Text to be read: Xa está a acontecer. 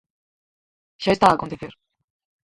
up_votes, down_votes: 0, 4